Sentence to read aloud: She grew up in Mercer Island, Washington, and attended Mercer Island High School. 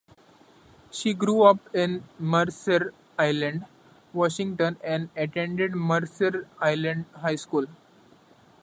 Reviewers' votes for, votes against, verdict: 2, 0, accepted